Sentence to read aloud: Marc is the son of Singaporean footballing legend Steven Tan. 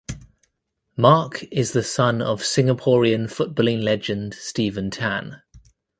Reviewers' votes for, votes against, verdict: 2, 1, accepted